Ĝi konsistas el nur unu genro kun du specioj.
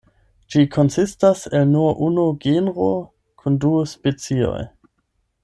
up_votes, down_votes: 4, 8